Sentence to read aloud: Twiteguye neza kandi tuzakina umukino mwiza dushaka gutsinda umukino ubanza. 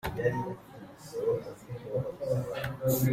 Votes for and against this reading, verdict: 0, 2, rejected